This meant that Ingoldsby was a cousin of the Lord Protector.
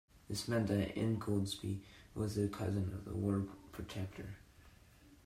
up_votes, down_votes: 2, 0